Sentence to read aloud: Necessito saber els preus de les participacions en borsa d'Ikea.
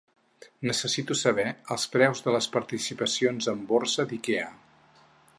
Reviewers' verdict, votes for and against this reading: accepted, 4, 0